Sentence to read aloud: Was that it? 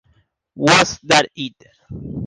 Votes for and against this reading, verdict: 1, 2, rejected